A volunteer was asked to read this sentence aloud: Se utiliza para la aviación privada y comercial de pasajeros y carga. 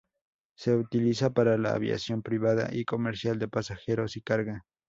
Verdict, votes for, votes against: accepted, 2, 0